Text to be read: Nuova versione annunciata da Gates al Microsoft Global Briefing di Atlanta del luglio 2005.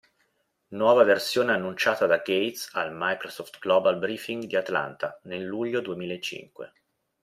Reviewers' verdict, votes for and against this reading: rejected, 0, 2